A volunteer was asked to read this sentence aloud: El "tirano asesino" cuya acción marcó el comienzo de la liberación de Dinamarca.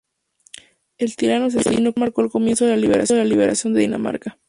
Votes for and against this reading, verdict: 0, 2, rejected